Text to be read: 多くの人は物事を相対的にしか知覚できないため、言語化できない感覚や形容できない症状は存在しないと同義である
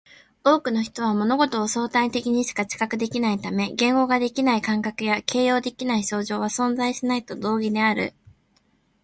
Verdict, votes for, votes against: accepted, 2, 0